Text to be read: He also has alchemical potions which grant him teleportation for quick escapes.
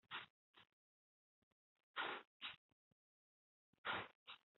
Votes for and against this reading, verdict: 0, 2, rejected